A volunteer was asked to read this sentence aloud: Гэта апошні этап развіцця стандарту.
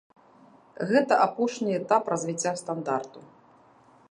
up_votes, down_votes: 3, 0